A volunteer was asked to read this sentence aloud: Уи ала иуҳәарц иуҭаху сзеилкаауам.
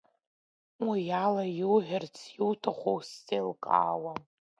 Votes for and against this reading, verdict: 3, 0, accepted